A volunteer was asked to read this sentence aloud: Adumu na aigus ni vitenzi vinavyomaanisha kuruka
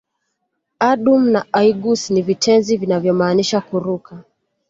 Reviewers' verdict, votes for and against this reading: accepted, 2, 0